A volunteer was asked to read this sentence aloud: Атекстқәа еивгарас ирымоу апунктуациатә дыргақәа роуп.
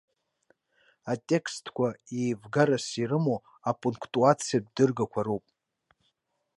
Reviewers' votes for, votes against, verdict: 2, 0, accepted